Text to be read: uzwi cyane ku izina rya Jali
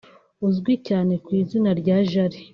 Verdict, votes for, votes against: rejected, 1, 2